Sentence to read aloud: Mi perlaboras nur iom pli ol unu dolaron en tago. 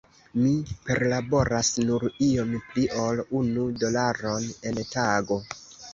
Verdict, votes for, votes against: rejected, 1, 2